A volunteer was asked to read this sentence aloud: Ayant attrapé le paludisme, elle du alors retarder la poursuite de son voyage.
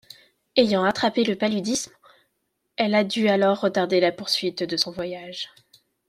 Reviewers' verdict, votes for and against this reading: rejected, 1, 2